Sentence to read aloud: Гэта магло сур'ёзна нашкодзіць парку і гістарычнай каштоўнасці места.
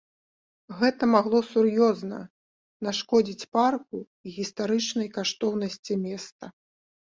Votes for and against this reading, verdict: 2, 0, accepted